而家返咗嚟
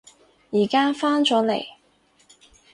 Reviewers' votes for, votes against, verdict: 6, 0, accepted